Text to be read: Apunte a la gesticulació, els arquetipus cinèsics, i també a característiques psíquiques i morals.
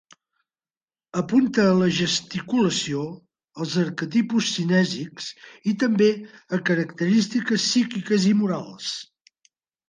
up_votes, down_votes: 3, 0